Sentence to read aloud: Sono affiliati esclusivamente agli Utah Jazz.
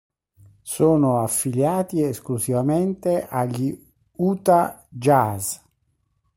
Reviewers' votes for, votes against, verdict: 3, 1, accepted